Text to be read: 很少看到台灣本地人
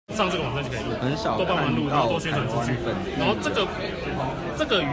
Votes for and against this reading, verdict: 0, 2, rejected